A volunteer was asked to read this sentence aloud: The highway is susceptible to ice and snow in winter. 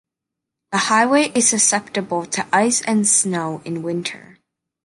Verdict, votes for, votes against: accepted, 2, 0